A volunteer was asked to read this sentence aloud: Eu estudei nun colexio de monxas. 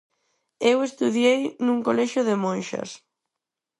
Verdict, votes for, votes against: rejected, 2, 4